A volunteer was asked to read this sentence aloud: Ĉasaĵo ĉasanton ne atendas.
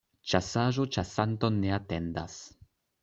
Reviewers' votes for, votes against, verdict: 2, 0, accepted